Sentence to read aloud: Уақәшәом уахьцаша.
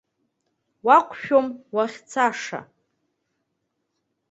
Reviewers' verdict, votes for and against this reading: accepted, 2, 1